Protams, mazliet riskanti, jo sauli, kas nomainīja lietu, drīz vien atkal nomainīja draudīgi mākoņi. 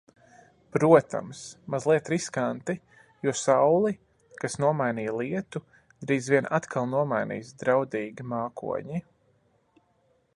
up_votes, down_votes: 1, 2